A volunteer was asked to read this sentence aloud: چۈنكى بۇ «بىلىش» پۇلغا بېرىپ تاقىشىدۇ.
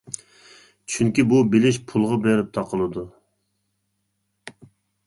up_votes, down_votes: 1, 2